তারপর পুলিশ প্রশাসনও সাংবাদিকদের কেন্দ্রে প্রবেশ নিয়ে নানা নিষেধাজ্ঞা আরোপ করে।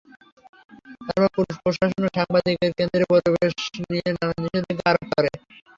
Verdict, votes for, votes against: rejected, 0, 3